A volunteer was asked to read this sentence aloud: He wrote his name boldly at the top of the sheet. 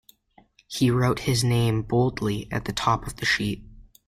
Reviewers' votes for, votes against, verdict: 2, 0, accepted